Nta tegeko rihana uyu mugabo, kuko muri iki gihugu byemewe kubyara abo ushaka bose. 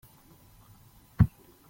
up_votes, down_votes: 0, 2